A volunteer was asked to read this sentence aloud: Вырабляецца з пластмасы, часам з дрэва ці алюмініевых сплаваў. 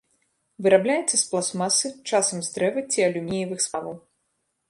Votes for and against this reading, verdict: 1, 2, rejected